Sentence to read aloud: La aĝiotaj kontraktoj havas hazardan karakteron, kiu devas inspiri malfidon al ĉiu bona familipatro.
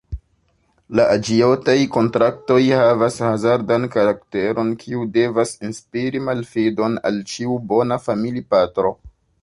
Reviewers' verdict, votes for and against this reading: accepted, 2, 1